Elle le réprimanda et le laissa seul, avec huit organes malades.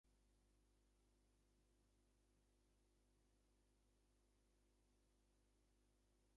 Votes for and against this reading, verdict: 0, 2, rejected